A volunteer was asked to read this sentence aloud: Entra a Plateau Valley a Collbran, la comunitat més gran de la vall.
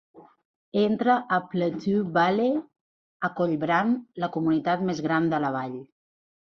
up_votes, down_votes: 1, 2